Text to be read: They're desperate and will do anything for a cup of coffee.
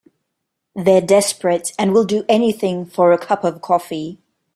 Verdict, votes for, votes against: accepted, 3, 0